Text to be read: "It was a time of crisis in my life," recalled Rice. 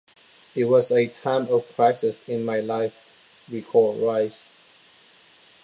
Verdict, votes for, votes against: accepted, 2, 0